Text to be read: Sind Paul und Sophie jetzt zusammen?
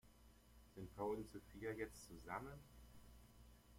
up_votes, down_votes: 1, 2